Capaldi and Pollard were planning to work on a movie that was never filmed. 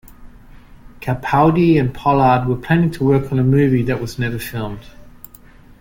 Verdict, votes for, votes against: accepted, 2, 0